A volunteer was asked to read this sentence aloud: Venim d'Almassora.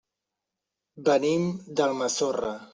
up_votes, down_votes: 1, 2